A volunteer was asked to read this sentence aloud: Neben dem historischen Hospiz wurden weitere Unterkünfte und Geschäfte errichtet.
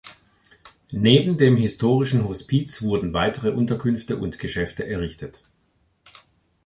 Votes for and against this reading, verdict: 3, 0, accepted